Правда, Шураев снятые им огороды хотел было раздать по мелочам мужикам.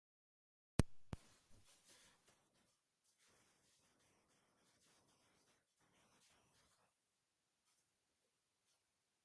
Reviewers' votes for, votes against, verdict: 0, 2, rejected